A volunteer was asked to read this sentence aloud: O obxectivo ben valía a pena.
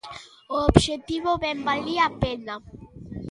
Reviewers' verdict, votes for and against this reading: rejected, 1, 2